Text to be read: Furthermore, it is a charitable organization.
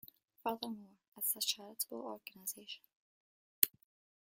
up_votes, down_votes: 0, 2